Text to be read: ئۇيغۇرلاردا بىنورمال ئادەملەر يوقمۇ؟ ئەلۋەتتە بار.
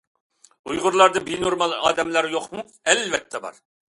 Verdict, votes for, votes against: accepted, 2, 0